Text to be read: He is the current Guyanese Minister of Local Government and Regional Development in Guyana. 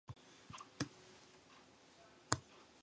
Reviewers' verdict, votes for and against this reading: rejected, 0, 2